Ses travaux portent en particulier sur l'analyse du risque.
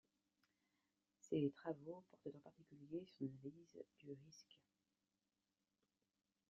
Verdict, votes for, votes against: accepted, 2, 1